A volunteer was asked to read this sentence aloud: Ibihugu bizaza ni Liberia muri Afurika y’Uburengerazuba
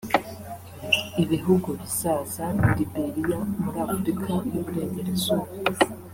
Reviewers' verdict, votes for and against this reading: rejected, 0, 2